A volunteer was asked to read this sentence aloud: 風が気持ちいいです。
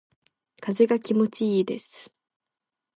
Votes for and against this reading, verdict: 2, 0, accepted